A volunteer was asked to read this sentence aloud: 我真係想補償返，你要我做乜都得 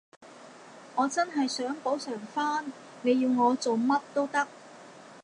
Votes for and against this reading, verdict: 2, 0, accepted